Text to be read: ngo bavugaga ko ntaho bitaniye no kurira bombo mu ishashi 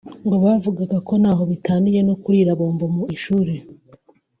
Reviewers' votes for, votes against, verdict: 0, 2, rejected